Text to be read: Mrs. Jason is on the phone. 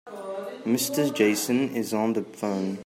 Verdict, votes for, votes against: rejected, 0, 2